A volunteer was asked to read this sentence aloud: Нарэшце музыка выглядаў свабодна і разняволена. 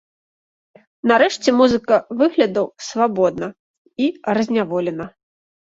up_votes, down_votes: 2, 3